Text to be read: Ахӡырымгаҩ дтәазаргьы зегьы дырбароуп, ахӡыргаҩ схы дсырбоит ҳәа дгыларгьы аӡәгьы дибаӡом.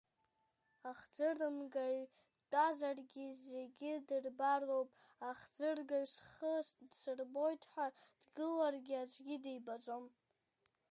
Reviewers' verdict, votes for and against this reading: rejected, 0, 2